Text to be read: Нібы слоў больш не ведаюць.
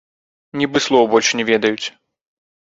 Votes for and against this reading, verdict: 0, 3, rejected